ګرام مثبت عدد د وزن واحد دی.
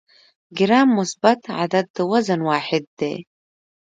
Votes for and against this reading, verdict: 1, 2, rejected